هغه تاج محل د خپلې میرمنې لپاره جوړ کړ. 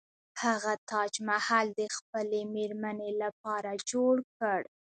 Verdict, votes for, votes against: accepted, 2, 1